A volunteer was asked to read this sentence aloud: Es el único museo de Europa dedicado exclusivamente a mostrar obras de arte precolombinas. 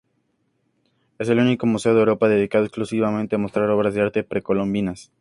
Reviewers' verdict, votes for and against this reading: accepted, 2, 0